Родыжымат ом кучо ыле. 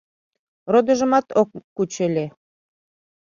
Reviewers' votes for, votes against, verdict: 1, 2, rejected